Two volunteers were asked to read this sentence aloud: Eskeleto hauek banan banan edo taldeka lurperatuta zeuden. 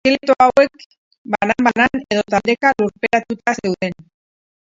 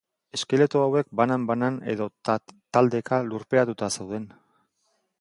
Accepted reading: second